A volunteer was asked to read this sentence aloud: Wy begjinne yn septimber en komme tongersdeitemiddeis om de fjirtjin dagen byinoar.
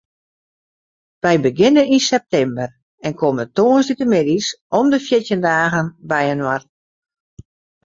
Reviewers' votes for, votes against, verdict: 4, 0, accepted